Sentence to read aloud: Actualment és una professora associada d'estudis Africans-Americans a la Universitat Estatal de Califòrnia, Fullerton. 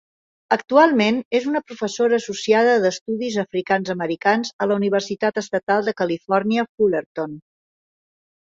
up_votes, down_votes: 3, 0